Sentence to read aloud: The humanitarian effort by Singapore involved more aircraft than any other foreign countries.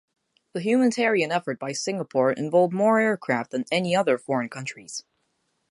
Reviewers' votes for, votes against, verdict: 4, 0, accepted